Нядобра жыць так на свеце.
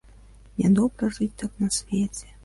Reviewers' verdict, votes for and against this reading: rejected, 1, 2